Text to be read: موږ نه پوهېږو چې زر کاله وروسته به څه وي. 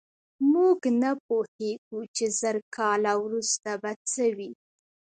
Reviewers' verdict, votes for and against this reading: rejected, 1, 2